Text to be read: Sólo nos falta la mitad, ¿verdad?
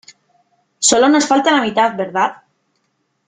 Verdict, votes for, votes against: accepted, 3, 0